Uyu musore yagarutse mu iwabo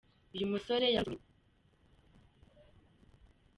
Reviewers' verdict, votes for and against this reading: rejected, 0, 2